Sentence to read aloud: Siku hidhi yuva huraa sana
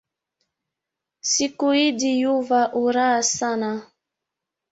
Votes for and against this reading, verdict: 1, 2, rejected